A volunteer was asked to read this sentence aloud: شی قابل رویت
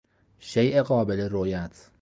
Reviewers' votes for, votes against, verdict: 2, 0, accepted